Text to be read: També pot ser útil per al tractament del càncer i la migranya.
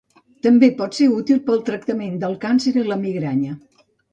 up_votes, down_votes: 0, 2